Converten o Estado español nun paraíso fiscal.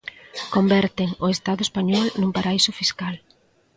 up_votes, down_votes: 2, 0